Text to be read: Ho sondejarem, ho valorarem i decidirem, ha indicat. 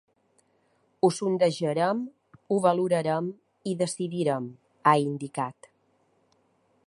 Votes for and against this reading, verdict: 0, 2, rejected